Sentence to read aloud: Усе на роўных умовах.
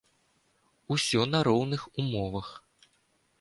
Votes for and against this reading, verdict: 1, 2, rejected